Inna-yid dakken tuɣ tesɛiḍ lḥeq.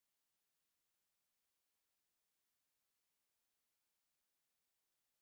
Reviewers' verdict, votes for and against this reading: rejected, 0, 2